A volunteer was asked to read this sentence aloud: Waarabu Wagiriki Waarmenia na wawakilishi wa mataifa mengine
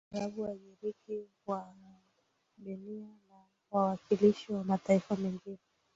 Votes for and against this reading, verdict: 1, 2, rejected